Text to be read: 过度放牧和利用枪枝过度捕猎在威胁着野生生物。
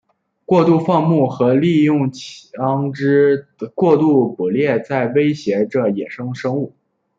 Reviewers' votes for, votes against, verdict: 0, 2, rejected